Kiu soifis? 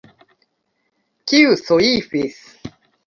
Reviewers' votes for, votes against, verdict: 2, 1, accepted